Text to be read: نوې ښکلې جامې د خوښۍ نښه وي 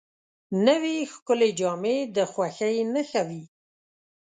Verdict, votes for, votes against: accepted, 2, 0